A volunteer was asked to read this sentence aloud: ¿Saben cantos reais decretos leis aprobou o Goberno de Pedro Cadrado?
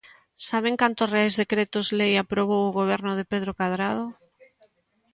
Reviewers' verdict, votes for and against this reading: accepted, 2, 0